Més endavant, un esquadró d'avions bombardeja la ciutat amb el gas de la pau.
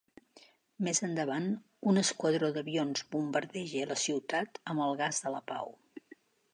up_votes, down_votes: 1, 2